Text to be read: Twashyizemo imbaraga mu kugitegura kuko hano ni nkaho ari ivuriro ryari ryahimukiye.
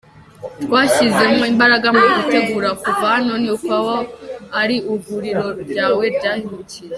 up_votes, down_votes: 0, 2